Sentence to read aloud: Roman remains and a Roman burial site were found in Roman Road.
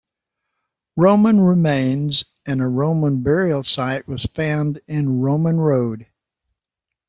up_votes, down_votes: 0, 2